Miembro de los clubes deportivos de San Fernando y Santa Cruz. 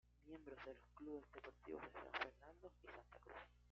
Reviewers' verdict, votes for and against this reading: rejected, 1, 2